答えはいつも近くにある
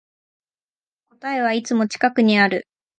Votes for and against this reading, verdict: 4, 0, accepted